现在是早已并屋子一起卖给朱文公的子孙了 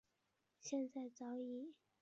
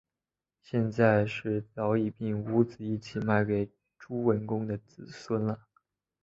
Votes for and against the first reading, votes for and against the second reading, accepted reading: 1, 4, 3, 1, second